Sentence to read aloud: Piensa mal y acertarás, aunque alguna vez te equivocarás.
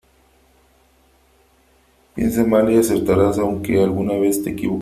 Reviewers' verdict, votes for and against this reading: rejected, 0, 3